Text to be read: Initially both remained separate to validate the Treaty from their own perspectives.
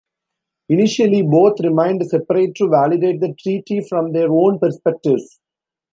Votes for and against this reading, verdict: 2, 0, accepted